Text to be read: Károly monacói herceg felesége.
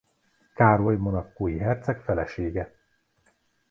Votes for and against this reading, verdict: 2, 0, accepted